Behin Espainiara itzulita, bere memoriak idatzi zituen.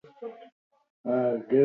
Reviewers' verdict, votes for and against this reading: rejected, 0, 4